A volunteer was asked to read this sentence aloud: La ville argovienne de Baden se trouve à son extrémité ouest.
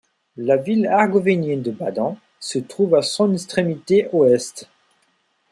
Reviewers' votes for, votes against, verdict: 0, 2, rejected